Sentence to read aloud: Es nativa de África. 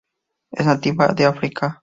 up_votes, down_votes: 2, 0